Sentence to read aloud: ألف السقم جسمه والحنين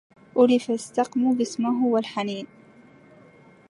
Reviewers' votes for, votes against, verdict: 0, 2, rejected